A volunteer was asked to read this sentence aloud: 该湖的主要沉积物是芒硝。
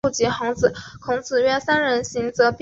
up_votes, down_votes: 1, 2